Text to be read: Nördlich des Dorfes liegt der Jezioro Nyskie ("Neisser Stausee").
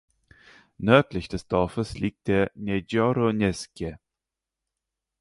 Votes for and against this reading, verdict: 0, 4, rejected